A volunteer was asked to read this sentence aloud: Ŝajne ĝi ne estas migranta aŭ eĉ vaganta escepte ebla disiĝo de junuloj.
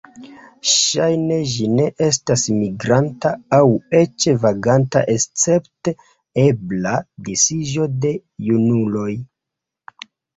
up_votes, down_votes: 2, 0